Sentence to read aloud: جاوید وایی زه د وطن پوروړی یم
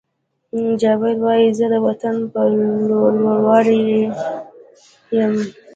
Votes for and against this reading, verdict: 1, 2, rejected